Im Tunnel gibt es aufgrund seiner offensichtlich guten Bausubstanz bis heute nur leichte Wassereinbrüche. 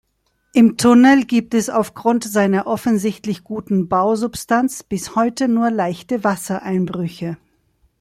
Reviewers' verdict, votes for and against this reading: accepted, 2, 0